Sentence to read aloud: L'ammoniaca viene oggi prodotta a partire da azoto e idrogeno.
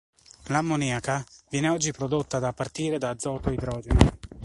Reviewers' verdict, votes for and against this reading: rejected, 1, 2